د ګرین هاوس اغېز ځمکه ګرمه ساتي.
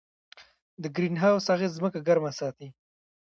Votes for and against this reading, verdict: 1, 2, rejected